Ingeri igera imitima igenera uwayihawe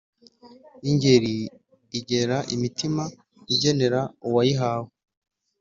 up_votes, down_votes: 2, 0